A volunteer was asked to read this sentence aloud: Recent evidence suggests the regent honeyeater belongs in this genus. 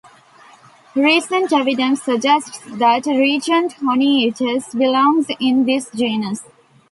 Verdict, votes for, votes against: rejected, 0, 2